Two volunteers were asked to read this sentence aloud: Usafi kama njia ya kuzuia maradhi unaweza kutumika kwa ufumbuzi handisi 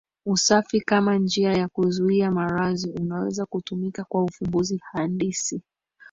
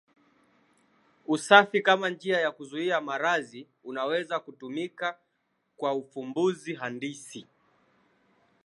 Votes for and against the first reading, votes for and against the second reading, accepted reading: 0, 2, 4, 0, second